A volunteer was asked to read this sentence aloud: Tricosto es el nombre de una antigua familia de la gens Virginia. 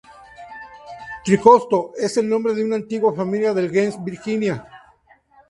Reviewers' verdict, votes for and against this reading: rejected, 0, 2